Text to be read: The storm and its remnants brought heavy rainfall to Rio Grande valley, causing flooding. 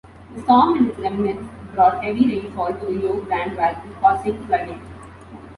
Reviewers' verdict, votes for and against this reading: rejected, 1, 2